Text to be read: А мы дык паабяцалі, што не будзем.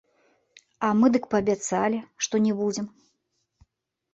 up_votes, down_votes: 1, 2